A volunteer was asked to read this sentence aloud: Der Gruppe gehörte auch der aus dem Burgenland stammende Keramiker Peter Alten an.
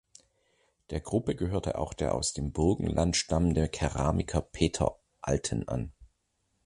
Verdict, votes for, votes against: accepted, 2, 0